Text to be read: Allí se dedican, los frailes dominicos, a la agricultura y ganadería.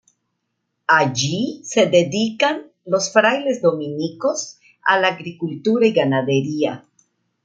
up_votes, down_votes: 2, 0